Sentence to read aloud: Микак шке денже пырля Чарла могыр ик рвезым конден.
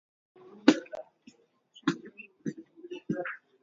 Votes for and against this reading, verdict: 0, 2, rejected